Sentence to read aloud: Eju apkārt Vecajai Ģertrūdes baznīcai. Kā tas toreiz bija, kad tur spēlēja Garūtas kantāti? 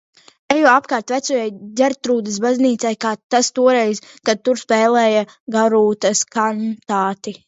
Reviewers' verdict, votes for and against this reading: rejected, 0, 2